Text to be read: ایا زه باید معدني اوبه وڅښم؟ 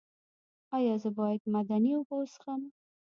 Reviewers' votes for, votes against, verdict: 1, 2, rejected